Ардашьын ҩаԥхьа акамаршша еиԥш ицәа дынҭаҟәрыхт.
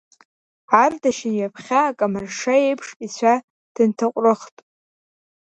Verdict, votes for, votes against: accepted, 2, 1